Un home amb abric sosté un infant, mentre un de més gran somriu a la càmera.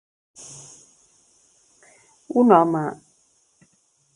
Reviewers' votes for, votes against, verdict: 0, 2, rejected